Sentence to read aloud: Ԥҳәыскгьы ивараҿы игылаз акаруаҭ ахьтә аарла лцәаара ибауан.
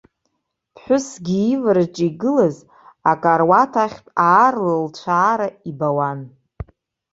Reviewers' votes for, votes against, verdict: 0, 2, rejected